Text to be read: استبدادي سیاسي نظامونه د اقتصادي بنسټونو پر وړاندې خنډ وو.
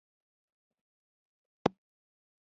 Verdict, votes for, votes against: rejected, 0, 2